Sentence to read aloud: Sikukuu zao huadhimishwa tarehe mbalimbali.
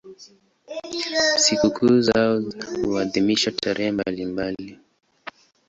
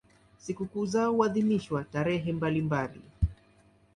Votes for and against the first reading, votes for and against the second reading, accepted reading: 3, 7, 2, 0, second